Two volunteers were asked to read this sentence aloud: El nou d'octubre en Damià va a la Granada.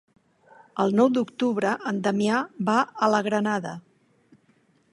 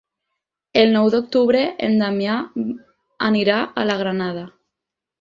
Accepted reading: first